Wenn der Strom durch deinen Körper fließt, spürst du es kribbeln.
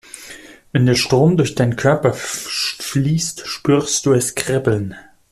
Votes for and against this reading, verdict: 1, 2, rejected